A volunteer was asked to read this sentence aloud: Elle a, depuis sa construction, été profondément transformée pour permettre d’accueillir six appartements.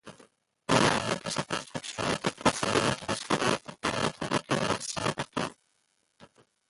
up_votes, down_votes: 0, 2